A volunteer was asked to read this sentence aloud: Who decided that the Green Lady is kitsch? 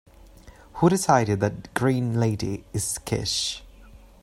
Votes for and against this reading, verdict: 1, 2, rejected